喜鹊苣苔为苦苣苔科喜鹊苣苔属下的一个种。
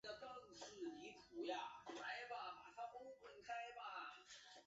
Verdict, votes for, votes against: rejected, 0, 3